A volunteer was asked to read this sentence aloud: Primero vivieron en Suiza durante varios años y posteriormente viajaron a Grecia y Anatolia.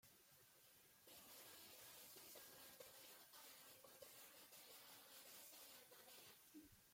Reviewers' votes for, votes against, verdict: 0, 2, rejected